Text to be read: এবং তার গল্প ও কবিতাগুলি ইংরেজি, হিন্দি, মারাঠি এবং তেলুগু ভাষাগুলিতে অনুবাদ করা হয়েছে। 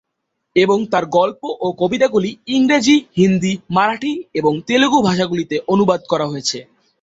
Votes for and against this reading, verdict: 8, 0, accepted